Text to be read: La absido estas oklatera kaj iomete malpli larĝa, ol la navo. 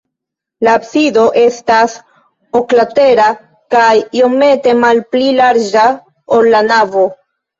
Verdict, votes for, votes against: accepted, 2, 0